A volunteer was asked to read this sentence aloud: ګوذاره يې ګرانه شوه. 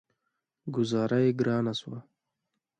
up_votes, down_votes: 2, 0